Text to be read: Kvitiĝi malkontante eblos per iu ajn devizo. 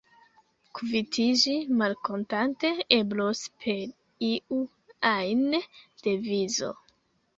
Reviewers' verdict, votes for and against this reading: accepted, 2, 0